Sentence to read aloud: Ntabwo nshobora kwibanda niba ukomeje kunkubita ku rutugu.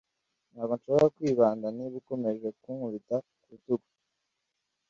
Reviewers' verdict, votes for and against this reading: accepted, 2, 0